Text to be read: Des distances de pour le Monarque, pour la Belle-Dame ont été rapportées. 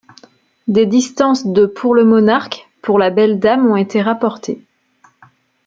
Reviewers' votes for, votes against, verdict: 2, 0, accepted